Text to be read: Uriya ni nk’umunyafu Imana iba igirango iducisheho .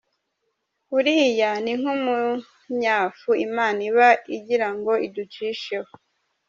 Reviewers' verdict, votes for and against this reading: accepted, 2, 0